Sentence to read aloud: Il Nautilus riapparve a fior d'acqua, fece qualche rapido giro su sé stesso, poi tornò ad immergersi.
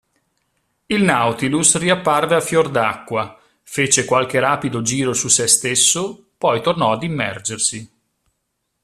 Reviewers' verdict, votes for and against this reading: accepted, 2, 0